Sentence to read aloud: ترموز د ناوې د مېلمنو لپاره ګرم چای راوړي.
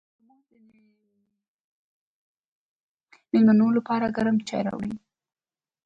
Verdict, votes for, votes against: accepted, 2, 0